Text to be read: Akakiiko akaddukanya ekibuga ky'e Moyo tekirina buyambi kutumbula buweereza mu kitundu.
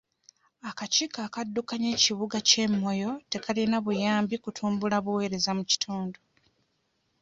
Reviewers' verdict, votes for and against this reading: rejected, 1, 2